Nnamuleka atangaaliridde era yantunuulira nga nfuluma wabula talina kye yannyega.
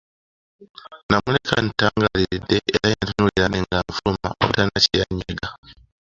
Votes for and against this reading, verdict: 1, 2, rejected